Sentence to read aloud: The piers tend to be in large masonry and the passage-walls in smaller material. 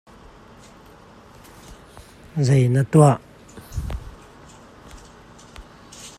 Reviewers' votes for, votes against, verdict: 1, 2, rejected